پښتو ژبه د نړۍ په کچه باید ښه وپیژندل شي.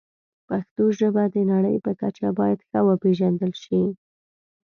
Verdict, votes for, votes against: accepted, 2, 0